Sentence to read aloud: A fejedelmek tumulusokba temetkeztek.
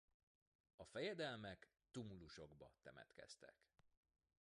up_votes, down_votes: 1, 2